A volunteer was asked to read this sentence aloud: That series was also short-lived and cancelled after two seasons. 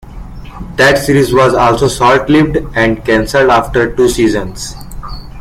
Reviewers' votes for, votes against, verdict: 2, 0, accepted